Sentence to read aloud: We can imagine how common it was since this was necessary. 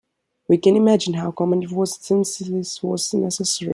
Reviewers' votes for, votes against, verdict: 2, 1, accepted